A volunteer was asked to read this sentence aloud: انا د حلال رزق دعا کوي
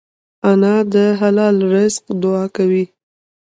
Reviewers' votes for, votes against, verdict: 0, 2, rejected